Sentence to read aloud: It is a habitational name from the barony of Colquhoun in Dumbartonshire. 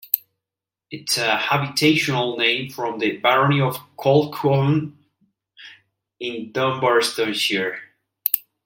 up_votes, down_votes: 0, 2